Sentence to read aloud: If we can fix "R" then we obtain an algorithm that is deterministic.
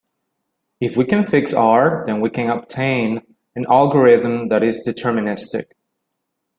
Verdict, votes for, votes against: accepted, 2, 1